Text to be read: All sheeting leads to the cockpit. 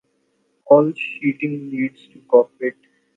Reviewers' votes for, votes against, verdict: 0, 5, rejected